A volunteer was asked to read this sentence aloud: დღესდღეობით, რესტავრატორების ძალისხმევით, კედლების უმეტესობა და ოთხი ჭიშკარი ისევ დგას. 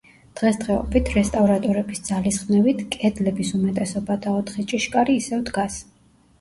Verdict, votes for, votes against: rejected, 1, 2